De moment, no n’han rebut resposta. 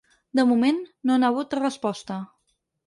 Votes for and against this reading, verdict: 2, 4, rejected